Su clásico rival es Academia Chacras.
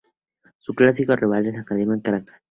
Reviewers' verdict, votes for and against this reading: rejected, 0, 2